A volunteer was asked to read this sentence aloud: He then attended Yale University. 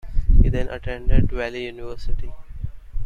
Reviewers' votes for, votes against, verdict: 0, 2, rejected